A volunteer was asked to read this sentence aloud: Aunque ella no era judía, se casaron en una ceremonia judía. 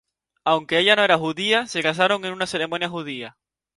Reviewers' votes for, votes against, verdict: 0, 2, rejected